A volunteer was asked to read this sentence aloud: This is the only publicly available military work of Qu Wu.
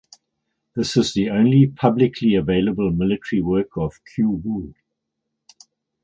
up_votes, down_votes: 4, 0